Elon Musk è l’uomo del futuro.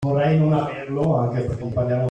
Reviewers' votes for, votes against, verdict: 0, 2, rejected